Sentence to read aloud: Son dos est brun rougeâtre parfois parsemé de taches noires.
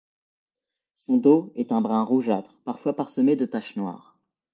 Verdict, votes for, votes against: rejected, 0, 2